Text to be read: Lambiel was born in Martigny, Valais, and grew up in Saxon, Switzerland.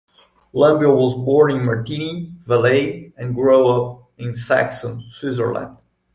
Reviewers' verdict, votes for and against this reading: rejected, 0, 2